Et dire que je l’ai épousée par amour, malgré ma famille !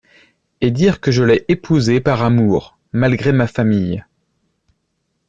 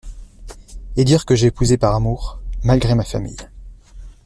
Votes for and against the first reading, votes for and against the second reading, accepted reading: 2, 0, 0, 2, first